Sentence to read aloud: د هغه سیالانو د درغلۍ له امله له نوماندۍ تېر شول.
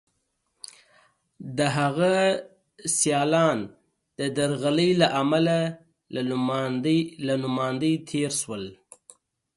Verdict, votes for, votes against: rejected, 0, 2